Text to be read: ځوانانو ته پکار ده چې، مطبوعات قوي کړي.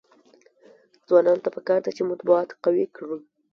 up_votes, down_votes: 1, 2